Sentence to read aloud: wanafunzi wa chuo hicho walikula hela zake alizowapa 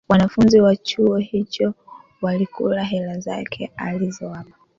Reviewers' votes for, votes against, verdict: 3, 1, accepted